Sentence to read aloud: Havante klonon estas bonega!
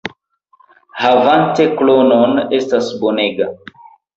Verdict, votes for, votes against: accepted, 2, 0